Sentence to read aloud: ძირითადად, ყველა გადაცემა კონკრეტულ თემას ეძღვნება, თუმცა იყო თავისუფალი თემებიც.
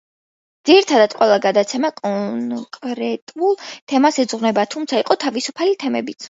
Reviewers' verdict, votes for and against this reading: rejected, 0, 2